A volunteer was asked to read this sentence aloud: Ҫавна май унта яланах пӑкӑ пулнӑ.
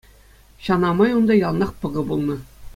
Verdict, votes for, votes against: accepted, 2, 0